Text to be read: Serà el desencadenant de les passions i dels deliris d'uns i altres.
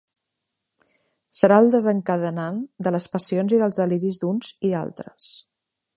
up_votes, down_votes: 2, 0